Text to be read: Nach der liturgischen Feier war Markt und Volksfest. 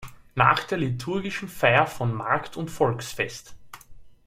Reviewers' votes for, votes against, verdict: 0, 2, rejected